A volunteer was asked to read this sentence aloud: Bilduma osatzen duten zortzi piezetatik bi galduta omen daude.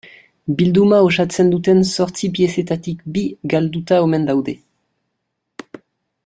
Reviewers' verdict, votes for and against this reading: accepted, 2, 0